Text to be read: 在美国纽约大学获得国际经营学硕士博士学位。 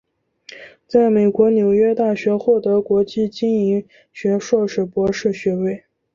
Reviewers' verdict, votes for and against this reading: accepted, 5, 1